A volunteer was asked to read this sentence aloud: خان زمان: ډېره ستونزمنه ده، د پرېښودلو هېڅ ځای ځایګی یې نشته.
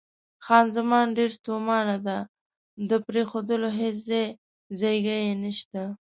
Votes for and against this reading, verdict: 0, 2, rejected